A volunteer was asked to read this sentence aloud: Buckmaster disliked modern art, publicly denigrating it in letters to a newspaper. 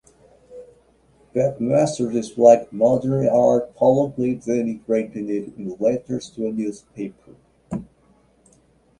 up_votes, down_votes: 2, 1